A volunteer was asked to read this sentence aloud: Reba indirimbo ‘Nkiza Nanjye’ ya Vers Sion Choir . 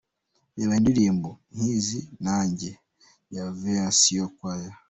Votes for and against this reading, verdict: 0, 2, rejected